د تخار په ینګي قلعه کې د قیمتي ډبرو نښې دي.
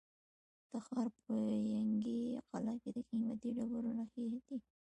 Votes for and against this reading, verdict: 2, 1, accepted